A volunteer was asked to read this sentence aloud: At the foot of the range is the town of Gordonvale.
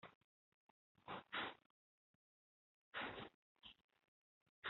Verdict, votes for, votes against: rejected, 0, 2